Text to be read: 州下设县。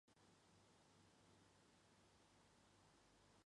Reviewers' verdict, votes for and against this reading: rejected, 0, 2